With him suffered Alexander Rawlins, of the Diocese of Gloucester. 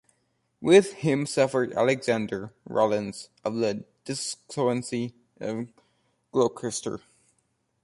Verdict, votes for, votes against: rejected, 0, 2